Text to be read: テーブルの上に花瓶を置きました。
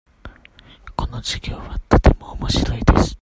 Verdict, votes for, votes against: rejected, 0, 2